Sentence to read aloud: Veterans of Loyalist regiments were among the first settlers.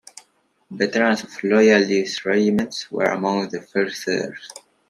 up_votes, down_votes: 2, 1